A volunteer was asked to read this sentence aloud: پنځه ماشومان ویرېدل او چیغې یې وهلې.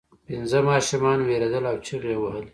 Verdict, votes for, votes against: rejected, 1, 2